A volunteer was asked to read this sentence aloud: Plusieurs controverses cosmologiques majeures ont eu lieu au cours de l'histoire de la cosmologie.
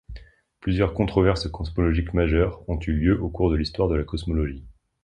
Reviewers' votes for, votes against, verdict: 2, 0, accepted